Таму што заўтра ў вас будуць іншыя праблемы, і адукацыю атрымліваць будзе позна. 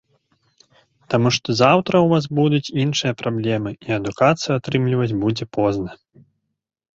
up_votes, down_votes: 3, 0